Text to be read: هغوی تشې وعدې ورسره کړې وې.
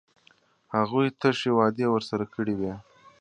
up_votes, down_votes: 2, 0